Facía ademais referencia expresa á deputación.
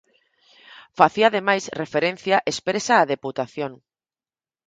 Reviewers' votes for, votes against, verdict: 4, 0, accepted